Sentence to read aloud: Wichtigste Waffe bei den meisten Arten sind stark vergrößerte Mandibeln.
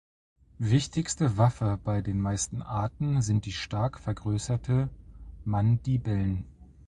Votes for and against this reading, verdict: 0, 2, rejected